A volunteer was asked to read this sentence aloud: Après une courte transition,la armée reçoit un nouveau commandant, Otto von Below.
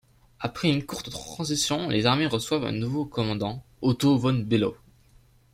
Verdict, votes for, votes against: rejected, 1, 2